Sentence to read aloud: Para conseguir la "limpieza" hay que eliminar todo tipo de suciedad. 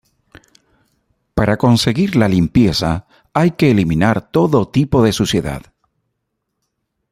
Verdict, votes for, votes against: accepted, 2, 0